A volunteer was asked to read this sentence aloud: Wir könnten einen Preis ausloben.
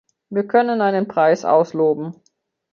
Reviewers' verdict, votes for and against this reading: rejected, 0, 2